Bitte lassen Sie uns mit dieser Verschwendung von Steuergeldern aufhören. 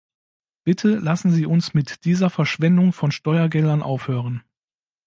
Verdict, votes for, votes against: accepted, 2, 0